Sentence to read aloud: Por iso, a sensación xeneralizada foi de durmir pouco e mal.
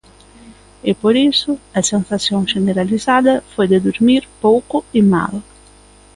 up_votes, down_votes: 0, 2